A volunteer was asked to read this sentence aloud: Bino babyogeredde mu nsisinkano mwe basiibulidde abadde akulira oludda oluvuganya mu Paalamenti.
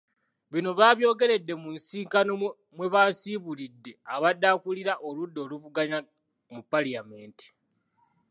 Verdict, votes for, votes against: rejected, 1, 2